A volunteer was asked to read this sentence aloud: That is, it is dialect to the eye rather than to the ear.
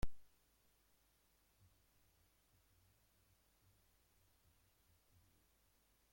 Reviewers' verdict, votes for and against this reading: rejected, 0, 2